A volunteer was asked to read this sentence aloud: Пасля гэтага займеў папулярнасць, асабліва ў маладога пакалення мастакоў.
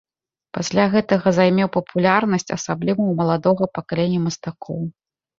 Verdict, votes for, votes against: accepted, 2, 0